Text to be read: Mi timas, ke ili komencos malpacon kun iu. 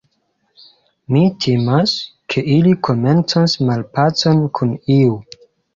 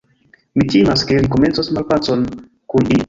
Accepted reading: first